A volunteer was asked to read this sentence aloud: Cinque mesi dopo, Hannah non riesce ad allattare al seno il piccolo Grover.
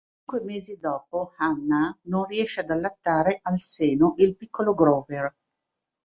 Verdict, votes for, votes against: rejected, 1, 2